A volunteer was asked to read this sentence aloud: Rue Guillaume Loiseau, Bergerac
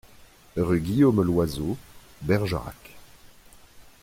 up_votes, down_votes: 2, 0